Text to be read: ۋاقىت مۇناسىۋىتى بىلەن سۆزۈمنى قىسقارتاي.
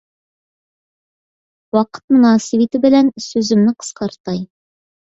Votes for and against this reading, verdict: 2, 0, accepted